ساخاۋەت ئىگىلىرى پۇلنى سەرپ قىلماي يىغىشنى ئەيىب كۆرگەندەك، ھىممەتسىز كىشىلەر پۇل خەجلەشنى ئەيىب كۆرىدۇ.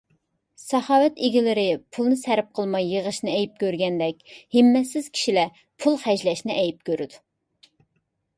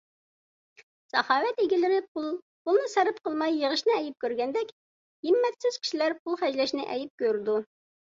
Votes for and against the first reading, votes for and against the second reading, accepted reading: 3, 0, 1, 2, first